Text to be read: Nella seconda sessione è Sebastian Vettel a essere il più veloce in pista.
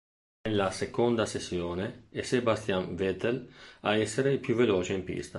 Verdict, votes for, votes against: rejected, 1, 2